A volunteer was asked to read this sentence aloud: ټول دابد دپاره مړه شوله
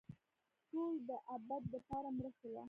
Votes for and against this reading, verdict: 2, 0, accepted